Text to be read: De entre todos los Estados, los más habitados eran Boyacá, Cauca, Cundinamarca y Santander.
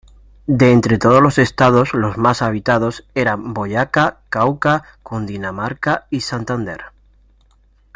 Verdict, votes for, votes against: rejected, 0, 2